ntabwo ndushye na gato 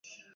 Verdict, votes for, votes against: accepted, 2, 0